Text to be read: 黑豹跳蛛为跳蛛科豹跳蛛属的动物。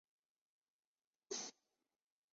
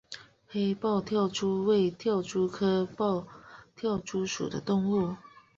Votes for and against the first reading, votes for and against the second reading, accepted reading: 1, 2, 2, 0, second